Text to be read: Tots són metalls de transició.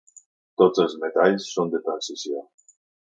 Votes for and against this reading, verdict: 1, 2, rejected